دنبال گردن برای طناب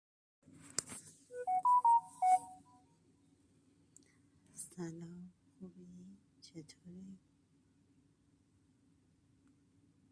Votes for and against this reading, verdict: 0, 2, rejected